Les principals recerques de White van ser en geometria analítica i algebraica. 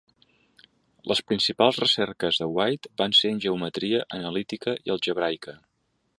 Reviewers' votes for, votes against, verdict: 2, 0, accepted